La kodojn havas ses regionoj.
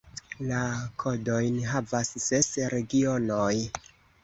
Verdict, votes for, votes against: accepted, 2, 1